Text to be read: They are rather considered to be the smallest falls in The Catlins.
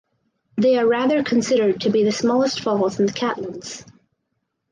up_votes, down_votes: 4, 0